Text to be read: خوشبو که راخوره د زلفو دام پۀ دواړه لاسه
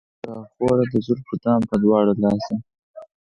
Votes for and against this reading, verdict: 0, 4, rejected